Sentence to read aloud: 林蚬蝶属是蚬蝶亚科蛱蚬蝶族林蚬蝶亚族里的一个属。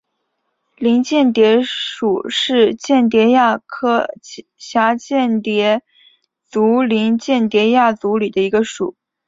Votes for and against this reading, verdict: 3, 0, accepted